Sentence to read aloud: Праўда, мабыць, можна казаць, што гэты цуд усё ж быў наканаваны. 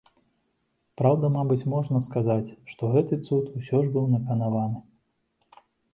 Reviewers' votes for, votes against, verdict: 0, 2, rejected